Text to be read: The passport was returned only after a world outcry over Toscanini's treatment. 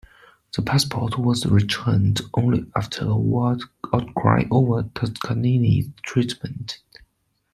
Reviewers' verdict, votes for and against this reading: accepted, 2, 0